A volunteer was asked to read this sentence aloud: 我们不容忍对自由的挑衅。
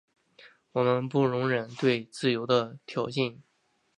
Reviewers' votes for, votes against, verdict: 2, 0, accepted